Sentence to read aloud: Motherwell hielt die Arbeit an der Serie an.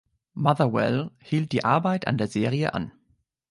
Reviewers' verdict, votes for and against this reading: accepted, 2, 0